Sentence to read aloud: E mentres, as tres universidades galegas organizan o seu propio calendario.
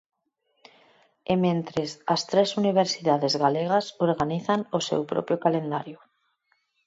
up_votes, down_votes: 4, 0